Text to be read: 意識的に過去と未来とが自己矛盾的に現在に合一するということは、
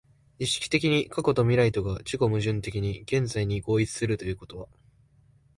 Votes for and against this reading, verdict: 2, 0, accepted